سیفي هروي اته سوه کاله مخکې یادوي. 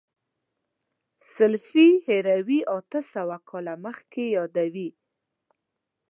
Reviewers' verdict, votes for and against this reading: rejected, 2, 3